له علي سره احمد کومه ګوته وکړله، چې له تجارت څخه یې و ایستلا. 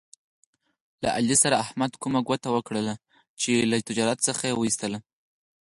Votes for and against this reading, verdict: 4, 0, accepted